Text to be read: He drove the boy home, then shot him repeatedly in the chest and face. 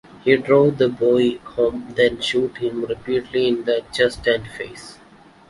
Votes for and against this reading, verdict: 1, 2, rejected